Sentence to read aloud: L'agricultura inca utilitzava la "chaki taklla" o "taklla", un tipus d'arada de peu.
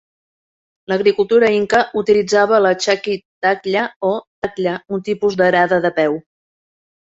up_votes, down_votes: 2, 0